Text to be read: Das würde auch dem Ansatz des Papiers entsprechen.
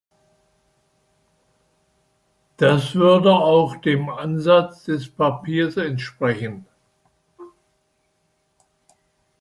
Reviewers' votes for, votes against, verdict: 1, 2, rejected